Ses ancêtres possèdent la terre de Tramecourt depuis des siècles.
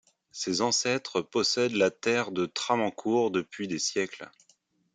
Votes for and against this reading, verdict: 0, 2, rejected